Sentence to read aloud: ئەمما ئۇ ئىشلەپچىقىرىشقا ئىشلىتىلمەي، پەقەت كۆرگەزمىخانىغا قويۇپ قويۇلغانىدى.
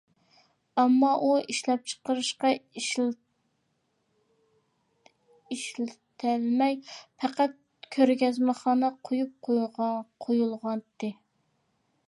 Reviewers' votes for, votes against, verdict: 0, 2, rejected